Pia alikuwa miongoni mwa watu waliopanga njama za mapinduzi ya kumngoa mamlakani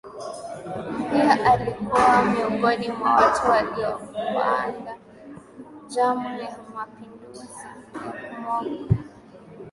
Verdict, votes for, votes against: accepted, 6, 2